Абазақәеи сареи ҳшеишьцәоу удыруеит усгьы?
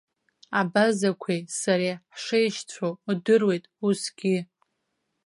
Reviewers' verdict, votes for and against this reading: accepted, 2, 0